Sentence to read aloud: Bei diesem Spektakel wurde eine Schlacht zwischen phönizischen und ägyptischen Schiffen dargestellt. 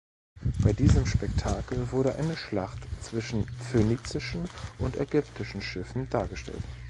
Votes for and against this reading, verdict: 2, 0, accepted